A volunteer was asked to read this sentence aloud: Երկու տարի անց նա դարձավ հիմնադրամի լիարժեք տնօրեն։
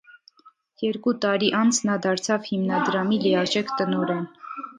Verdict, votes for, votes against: rejected, 0, 2